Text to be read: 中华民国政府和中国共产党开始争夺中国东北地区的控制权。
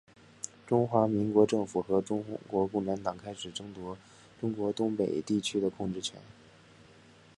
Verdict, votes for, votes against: accepted, 2, 0